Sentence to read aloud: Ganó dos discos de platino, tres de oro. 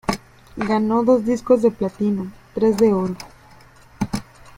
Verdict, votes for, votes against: rejected, 0, 2